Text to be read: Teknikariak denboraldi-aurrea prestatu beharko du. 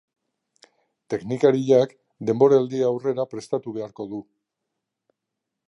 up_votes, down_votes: 0, 2